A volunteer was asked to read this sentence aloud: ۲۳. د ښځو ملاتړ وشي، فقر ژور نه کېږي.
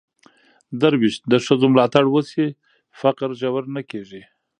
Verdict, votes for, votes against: rejected, 0, 2